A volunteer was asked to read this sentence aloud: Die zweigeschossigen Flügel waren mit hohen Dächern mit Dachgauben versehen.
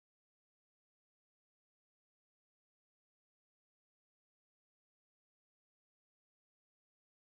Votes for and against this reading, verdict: 0, 4, rejected